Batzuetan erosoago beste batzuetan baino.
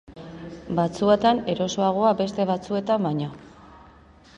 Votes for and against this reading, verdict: 2, 0, accepted